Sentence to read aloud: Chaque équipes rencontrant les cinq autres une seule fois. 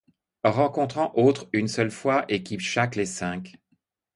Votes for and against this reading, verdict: 0, 2, rejected